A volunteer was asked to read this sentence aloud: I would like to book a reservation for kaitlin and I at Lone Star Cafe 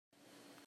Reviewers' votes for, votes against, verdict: 0, 2, rejected